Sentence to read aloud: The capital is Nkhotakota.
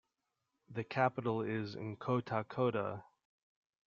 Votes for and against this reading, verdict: 0, 2, rejected